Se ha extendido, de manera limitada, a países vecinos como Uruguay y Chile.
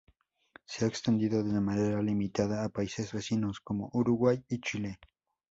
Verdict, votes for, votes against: rejected, 0, 2